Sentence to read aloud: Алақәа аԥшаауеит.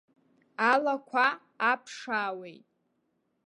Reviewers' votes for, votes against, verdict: 2, 0, accepted